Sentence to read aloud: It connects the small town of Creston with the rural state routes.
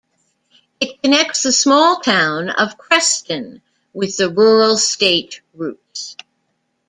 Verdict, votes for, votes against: accepted, 2, 0